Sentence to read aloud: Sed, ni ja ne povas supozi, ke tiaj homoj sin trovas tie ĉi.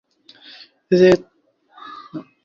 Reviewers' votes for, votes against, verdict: 0, 2, rejected